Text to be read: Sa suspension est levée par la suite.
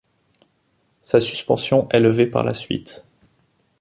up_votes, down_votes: 2, 0